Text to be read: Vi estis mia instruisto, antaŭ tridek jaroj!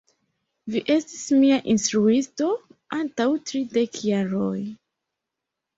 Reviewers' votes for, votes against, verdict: 2, 0, accepted